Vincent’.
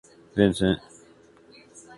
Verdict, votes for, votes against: accepted, 2, 0